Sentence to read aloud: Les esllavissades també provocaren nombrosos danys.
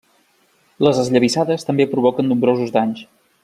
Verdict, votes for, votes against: rejected, 0, 2